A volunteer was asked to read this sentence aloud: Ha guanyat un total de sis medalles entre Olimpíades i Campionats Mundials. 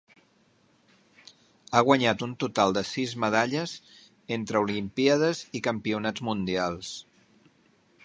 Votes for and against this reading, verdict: 4, 0, accepted